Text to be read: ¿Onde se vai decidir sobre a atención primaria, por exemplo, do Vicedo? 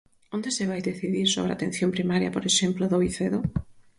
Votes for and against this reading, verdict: 4, 0, accepted